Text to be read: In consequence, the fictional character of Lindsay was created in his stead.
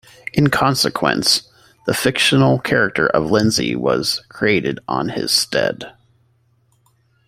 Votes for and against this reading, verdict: 0, 2, rejected